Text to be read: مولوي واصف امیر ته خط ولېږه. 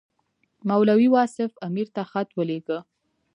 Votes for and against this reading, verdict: 3, 0, accepted